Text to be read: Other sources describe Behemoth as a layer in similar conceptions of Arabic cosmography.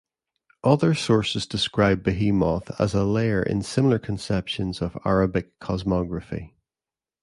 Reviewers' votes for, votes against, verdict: 2, 0, accepted